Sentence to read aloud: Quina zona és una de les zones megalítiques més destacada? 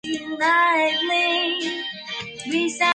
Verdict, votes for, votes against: rejected, 0, 2